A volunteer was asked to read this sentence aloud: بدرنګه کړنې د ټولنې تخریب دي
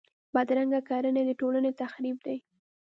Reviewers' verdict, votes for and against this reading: accepted, 2, 0